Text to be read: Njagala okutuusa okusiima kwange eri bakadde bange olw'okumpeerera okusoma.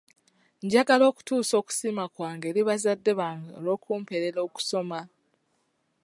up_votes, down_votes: 2, 4